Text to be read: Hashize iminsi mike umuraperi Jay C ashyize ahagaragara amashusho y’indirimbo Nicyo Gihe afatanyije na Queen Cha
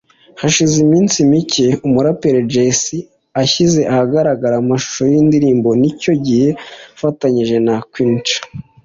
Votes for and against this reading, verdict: 2, 1, accepted